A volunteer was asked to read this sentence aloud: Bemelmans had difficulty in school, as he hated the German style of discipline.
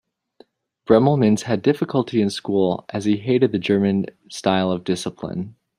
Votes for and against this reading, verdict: 0, 2, rejected